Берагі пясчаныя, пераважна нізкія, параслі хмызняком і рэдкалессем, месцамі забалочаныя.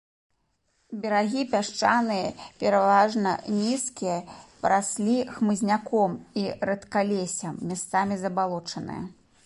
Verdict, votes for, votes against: rejected, 0, 2